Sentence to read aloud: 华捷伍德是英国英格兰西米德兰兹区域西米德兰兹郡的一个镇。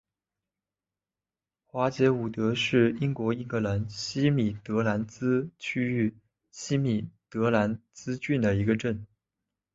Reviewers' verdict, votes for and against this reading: accepted, 3, 1